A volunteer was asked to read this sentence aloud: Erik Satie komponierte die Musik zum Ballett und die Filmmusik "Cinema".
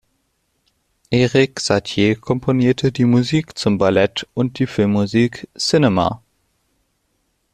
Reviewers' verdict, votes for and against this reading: rejected, 1, 2